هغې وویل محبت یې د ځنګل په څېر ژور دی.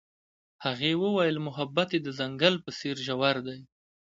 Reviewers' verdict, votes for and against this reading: accepted, 2, 0